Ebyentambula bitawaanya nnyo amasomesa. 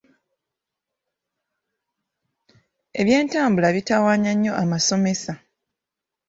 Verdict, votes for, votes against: accepted, 2, 0